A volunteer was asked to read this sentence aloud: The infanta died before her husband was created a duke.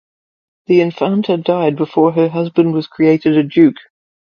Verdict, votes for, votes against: accepted, 2, 0